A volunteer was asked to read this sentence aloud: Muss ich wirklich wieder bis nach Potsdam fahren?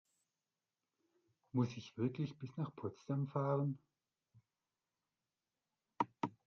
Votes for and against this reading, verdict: 0, 2, rejected